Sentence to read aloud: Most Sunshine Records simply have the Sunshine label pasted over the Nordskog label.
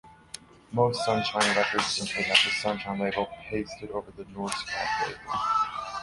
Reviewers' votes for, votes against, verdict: 1, 2, rejected